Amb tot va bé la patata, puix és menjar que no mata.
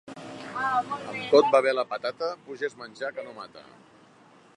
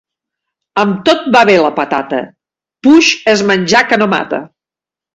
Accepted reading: second